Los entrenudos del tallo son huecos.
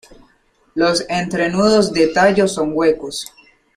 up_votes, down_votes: 1, 2